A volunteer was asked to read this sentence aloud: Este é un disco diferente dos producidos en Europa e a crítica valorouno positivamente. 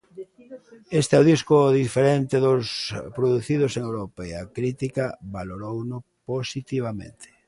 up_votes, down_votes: 1, 2